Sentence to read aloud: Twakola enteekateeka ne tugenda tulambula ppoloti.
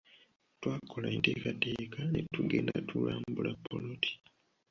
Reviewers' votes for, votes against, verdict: 2, 1, accepted